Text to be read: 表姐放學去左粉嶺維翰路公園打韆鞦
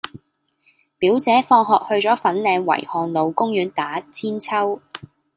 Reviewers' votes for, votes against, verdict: 2, 0, accepted